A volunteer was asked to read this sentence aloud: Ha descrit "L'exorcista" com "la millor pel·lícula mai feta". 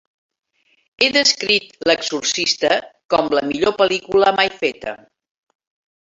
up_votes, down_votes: 1, 2